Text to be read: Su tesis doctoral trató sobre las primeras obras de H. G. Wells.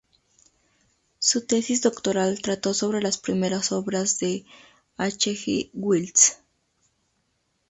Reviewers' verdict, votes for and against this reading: accepted, 2, 0